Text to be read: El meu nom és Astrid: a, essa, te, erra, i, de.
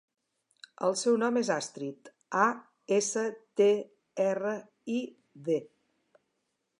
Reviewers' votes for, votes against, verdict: 0, 2, rejected